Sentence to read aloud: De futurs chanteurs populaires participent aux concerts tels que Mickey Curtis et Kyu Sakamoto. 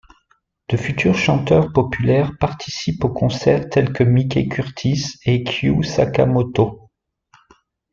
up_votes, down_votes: 2, 0